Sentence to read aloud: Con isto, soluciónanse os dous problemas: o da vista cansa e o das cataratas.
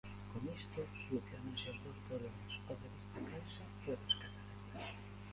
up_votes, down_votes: 0, 2